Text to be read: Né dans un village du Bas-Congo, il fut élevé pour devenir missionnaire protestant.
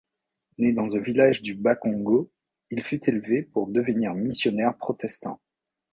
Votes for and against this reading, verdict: 0, 2, rejected